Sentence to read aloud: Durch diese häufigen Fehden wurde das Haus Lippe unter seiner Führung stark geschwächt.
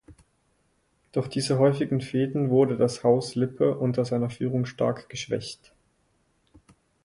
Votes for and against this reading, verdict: 4, 0, accepted